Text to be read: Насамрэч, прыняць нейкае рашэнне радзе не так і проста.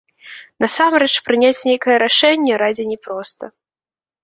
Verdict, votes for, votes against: rejected, 0, 2